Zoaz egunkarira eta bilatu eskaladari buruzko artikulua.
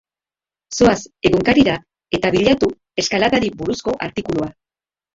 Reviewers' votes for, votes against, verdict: 0, 2, rejected